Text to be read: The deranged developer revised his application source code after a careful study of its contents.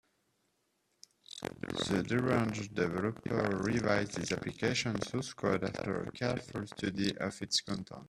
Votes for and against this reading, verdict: 0, 2, rejected